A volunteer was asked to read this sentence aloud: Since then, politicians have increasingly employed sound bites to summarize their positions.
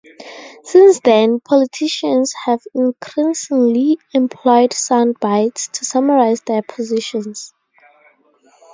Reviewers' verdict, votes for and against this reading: rejected, 0, 2